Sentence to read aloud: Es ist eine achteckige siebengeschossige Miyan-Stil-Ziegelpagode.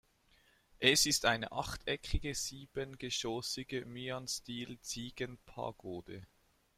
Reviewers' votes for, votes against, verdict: 1, 2, rejected